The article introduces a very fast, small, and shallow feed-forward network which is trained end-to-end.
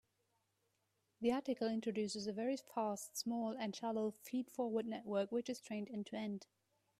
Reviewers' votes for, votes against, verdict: 2, 1, accepted